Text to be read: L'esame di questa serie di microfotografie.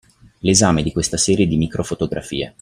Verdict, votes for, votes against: accepted, 2, 0